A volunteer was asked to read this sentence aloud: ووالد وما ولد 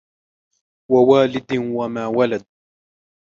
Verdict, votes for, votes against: accepted, 2, 1